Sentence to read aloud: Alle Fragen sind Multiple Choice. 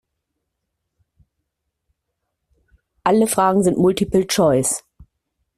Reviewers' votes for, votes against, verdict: 2, 0, accepted